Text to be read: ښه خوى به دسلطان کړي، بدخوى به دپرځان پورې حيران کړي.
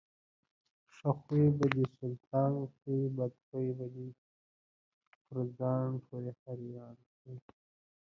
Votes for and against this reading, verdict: 1, 2, rejected